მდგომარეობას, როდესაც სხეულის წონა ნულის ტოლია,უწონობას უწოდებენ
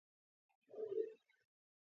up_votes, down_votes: 0, 2